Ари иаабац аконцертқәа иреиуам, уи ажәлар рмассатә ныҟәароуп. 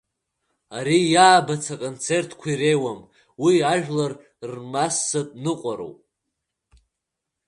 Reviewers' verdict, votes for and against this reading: accepted, 2, 1